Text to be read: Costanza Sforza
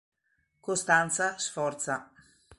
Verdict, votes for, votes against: accepted, 2, 1